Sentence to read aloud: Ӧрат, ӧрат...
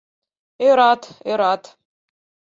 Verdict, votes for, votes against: accepted, 4, 0